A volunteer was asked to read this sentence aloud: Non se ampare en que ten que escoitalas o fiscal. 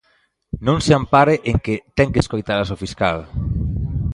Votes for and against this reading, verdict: 1, 2, rejected